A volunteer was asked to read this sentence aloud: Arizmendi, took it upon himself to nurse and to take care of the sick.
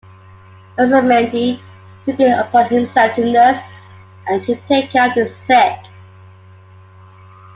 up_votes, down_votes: 2, 0